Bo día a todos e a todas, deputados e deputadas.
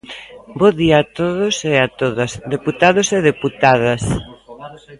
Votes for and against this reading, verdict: 2, 0, accepted